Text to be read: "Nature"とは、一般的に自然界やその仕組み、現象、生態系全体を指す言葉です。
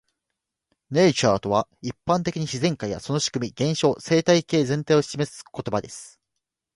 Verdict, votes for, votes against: accepted, 2, 0